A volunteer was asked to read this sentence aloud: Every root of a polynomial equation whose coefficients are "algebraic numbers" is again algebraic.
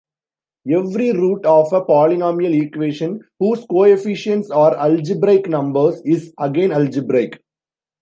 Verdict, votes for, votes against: accepted, 2, 0